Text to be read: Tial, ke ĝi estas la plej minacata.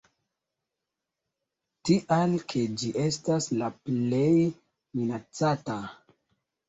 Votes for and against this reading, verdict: 2, 1, accepted